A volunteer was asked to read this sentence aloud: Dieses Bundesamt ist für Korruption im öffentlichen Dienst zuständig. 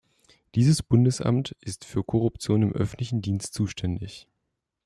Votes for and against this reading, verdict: 2, 0, accepted